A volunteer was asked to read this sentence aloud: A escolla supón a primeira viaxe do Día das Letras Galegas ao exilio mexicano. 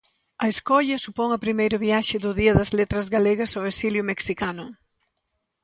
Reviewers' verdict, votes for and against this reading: accepted, 2, 0